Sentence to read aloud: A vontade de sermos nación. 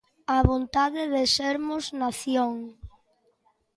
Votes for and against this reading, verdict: 2, 0, accepted